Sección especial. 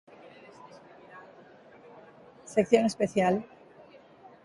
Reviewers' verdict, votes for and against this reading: accepted, 2, 1